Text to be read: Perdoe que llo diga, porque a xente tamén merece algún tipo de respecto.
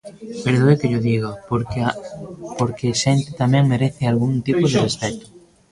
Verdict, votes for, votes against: rejected, 0, 2